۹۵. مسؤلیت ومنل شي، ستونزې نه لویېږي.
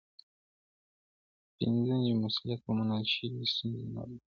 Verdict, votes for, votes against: rejected, 0, 2